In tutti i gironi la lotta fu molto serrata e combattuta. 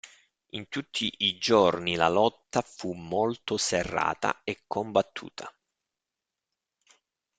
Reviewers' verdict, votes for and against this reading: rejected, 1, 2